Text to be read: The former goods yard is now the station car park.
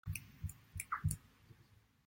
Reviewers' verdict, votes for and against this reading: rejected, 0, 2